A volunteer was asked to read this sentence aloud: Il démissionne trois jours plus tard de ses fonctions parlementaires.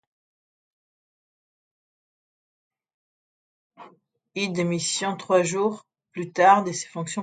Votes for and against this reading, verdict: 1, 2, rejected